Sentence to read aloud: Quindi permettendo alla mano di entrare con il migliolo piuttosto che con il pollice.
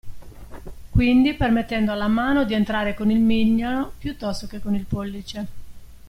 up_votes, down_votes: 1, 2